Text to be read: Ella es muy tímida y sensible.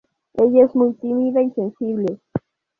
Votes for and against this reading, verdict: 2, 0, accepted